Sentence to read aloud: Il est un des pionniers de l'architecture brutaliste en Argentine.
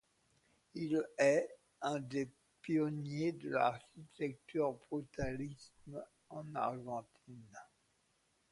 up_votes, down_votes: 0, 2